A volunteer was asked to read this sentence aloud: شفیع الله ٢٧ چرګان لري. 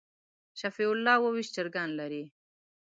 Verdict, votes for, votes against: rejected, 0, 2